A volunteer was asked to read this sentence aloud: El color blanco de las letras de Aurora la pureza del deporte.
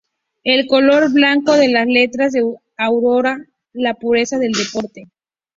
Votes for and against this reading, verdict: 2, 0, accepted